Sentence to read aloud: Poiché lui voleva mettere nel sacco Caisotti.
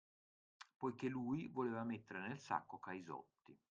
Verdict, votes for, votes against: rejected, 0, 2